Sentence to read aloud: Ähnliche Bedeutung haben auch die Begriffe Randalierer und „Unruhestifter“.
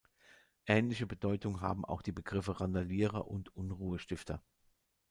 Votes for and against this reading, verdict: 2, 0, accepted